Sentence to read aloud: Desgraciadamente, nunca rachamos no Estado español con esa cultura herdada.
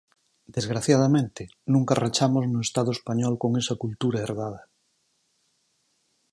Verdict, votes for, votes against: accepted, 4, 0